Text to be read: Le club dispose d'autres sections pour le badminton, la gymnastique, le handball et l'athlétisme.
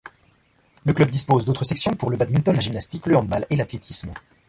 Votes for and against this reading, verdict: 1, 2, rejected